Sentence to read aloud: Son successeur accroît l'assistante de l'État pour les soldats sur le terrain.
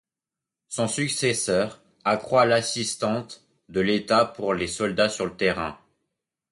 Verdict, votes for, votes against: accepted, 2, 0